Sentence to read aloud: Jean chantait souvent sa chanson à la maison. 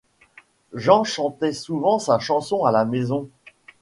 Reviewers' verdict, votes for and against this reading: accepted, 2, 0